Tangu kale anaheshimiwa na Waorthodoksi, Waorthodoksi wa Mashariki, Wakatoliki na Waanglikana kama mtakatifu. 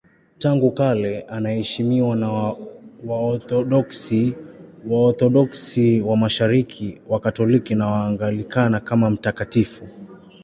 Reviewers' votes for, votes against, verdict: 1, 2, rejected